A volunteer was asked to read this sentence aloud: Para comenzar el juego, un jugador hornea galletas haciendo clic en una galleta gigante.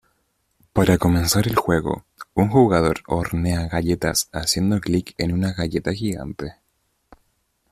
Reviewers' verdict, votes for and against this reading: accepted, 2, 0